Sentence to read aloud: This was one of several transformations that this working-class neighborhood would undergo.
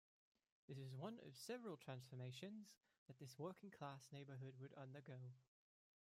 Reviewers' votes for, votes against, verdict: 0, 2, rejected